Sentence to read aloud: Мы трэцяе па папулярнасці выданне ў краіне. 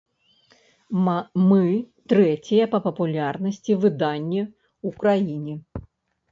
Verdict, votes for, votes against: rejected, 0, 2